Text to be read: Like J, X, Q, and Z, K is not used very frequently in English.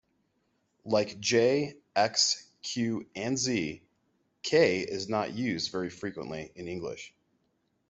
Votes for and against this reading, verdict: 2, 0, accepted